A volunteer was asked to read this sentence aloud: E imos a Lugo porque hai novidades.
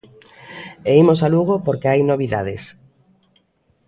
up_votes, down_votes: 2, 0